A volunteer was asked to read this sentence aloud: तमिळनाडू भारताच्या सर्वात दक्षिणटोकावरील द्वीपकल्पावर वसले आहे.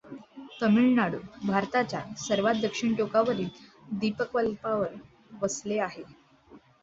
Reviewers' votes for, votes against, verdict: 1, 2, rejected